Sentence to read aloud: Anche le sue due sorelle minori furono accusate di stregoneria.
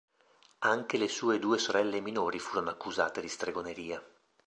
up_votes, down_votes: 2, 0